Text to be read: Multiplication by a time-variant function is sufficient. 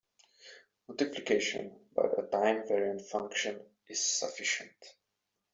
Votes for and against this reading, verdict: 2, 0, accepted